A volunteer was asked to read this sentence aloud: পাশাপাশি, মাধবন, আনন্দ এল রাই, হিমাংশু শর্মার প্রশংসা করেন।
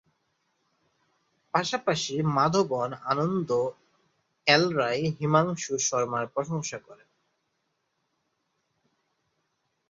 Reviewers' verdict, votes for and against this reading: accepted, 6, 3